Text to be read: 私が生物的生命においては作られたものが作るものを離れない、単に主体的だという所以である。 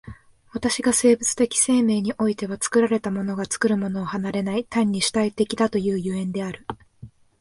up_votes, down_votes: 4, 0